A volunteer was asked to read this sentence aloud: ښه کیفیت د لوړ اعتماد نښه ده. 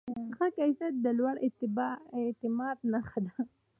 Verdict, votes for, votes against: accepted, 2, 0